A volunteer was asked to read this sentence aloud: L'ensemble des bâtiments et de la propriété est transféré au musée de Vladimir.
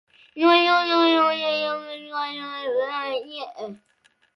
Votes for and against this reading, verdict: 0, 2, rejected